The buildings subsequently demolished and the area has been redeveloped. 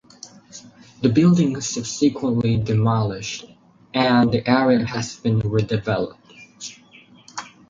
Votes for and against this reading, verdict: 2, 0, accepted